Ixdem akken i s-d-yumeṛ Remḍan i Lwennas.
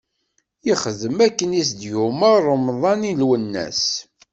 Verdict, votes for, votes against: accepted, 2, 0